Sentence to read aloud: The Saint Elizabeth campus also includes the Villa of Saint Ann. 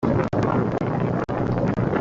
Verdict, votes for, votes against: rejected, 0, 2